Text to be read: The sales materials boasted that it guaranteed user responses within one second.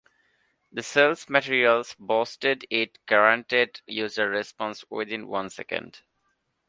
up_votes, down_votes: 2, 1